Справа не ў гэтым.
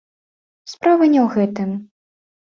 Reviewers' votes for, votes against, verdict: 2, 0, accepted